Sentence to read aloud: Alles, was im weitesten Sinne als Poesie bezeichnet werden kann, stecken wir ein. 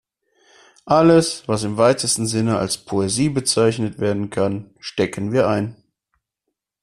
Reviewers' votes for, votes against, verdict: 2, 0, accepted